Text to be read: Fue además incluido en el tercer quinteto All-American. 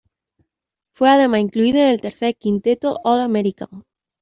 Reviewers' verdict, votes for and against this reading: accepted, 2, 1